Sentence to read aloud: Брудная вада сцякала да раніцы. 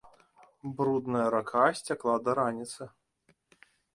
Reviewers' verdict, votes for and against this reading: rejected, 0, 2